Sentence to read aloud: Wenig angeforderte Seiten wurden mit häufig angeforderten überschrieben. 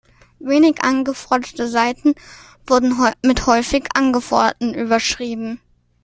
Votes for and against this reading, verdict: 0, 2, rejected